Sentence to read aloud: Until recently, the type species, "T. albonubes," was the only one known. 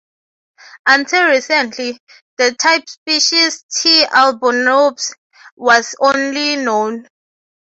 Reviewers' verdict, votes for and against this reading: rejected, 0, 3